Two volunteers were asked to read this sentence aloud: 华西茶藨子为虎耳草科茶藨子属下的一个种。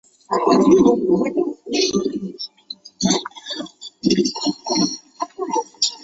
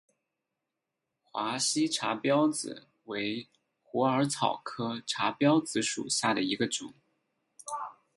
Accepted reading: second